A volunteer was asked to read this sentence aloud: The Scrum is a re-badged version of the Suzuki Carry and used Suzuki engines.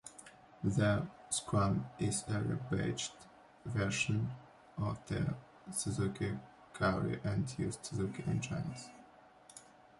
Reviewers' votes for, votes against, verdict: 1, 2, rejected